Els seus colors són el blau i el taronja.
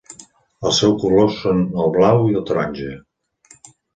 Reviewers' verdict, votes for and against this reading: accepted, 4, 0